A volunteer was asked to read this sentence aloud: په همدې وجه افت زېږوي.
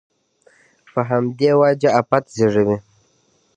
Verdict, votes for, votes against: accepted, 2, 0